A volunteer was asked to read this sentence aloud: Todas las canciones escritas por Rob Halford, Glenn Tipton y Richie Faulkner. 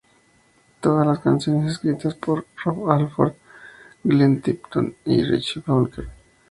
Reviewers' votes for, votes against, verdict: 2, 0, accepted